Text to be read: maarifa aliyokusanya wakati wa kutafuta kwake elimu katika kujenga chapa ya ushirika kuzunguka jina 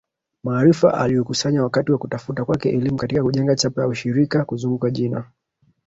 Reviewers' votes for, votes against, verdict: 1, 2, rejected